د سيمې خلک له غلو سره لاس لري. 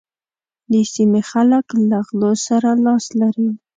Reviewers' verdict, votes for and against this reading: accepted, 2, 0